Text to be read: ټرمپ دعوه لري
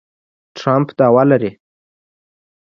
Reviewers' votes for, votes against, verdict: 2, 0, accepted